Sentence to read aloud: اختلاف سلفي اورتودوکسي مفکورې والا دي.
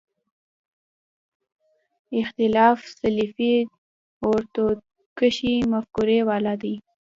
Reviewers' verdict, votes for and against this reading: accepted, 2, 0